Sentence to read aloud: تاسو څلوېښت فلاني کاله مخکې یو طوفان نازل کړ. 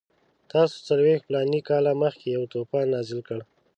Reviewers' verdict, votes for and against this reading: accepted, 2, 0